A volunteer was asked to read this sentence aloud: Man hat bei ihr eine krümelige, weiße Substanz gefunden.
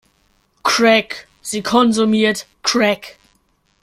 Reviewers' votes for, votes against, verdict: 0, 2, rejected